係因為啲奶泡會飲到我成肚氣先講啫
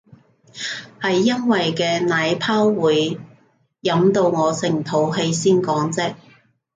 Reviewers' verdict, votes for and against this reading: rejected, 0, 2